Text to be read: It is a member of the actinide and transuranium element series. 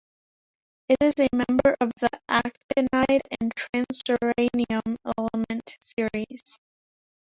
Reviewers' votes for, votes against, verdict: 1, 2, rejected